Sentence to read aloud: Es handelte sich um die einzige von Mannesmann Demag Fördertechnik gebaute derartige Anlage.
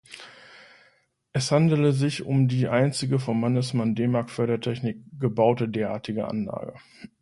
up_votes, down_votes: 1, 2